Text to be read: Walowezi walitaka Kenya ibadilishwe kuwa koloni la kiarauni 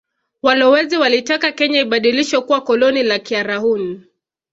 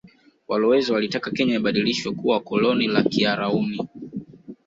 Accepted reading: second